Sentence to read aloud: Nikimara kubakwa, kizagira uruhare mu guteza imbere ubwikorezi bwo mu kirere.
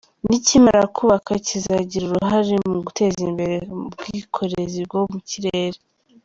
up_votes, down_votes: 2, 0